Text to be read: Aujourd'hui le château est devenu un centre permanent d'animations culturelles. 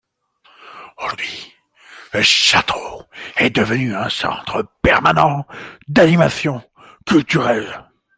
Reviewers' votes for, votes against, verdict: 0, 2, rejected